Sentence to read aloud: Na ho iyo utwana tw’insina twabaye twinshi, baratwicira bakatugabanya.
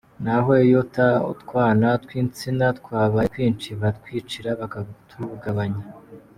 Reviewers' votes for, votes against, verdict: 2, 1, accepted